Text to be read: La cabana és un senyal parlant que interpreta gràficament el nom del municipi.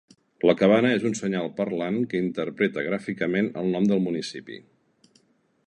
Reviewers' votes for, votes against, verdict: 2, 0, accepted